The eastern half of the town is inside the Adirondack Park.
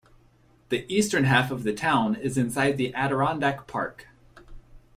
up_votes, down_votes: 2, 0